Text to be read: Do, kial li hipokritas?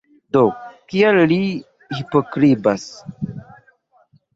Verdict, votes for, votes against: rejected, 0, 2